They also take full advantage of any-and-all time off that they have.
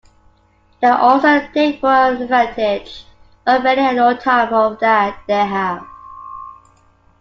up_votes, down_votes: 2, 1